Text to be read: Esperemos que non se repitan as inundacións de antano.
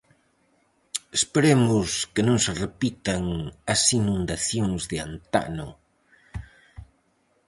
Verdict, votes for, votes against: accepted, 4, 0